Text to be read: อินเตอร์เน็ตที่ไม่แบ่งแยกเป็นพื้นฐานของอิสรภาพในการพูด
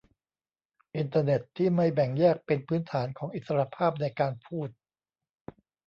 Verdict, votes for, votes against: accepted, 2, 0